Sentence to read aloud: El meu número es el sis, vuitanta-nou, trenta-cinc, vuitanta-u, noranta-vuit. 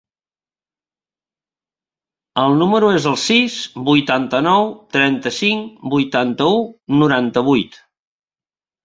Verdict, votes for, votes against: rejected, 0, 2